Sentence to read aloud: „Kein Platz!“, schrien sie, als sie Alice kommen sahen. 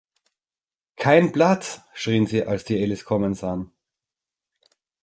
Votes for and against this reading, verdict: 2, 0, accepted